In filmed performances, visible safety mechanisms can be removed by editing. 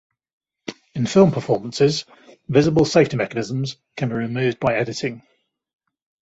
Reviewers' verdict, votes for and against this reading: accepted, 2, 0